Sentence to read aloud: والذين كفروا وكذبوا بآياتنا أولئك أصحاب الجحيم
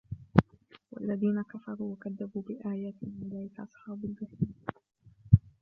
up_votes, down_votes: 0, 2